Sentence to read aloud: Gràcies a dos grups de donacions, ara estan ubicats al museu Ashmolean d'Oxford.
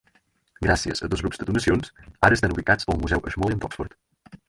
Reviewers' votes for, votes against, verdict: 4, 6, rejected